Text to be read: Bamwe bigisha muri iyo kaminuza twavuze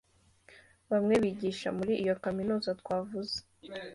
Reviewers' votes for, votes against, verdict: 2, 0, accepted